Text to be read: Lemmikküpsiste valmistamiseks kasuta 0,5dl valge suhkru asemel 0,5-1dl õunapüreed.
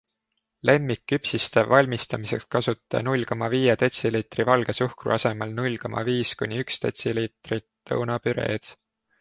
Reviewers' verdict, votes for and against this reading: rejected, 0, 2